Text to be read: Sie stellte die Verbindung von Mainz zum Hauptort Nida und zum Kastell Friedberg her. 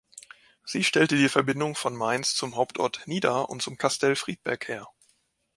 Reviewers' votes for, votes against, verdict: 3, 0, accepted